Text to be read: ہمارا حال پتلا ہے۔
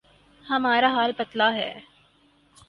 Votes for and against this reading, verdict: 4, 0, accepted